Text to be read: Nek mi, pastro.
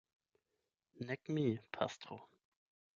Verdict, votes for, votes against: accepted, 16, 12